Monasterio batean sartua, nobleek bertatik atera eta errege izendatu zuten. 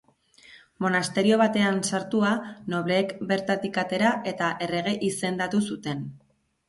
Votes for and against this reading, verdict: 2, 0, accepted